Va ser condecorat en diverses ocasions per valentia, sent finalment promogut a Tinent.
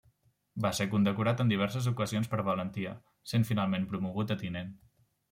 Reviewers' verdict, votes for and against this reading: accepted, 3, 0